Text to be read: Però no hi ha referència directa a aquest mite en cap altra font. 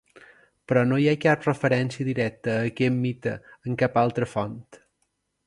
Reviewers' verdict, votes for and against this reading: rejected, 1, 2